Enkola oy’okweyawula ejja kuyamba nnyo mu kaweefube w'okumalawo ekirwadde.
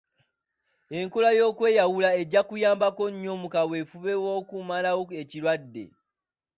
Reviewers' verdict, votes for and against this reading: accepted, 2, 0